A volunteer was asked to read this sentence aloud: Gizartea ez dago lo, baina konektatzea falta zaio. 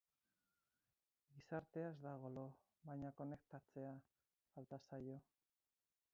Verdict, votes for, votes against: accepted, 4, 2